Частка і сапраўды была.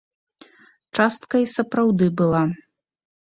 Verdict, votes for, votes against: accepted, 2, 0